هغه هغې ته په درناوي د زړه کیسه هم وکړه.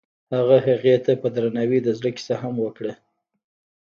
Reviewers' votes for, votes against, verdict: 1, 2, rejected